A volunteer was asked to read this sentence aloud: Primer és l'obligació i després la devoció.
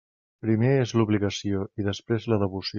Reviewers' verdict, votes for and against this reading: rejected, 1, 2